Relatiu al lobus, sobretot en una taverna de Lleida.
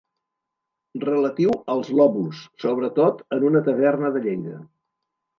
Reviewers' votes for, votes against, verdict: 1, 2, rejected